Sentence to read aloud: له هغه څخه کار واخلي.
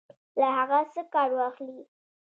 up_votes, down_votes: 2, 1